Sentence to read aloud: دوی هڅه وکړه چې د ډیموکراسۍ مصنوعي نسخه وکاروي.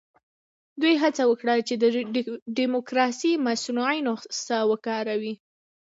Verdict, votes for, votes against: accepted, 2, 0